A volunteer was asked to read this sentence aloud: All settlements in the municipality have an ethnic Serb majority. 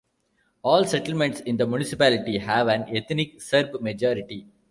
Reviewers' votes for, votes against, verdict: 2, 0, accepted